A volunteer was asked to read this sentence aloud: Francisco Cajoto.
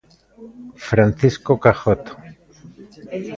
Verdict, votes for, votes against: accepted, 2, 0